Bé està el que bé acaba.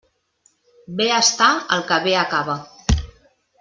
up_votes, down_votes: 3, 0